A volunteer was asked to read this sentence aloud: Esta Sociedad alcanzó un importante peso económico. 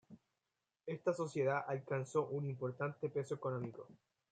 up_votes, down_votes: 2, 1